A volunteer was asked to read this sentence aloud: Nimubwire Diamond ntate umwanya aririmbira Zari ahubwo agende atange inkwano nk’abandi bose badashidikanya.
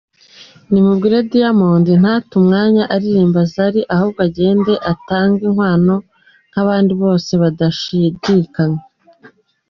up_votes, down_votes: 2, 1